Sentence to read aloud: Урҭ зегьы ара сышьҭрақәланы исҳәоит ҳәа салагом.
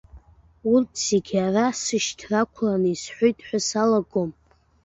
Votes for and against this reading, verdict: 0, 3, rejected